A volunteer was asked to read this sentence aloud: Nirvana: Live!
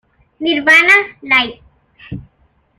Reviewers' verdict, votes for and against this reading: rejected, 1, 2